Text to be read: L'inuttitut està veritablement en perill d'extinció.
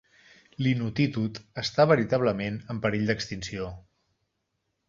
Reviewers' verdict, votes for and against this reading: accepted, 2, 0